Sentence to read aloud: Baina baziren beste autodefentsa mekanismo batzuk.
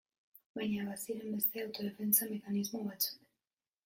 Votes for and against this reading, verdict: 0, 2, rejected